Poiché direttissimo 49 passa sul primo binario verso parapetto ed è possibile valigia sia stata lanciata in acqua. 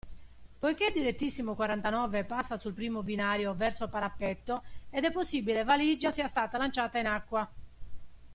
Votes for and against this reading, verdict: 0, 2, rejected